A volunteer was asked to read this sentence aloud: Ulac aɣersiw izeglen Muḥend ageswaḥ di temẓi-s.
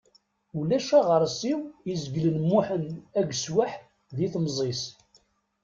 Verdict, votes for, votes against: accepted, 2, 0